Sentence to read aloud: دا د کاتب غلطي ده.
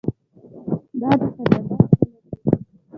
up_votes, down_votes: 1, 2